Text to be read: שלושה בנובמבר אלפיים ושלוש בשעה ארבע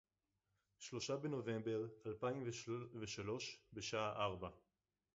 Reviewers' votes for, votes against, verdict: 0, 4, rejected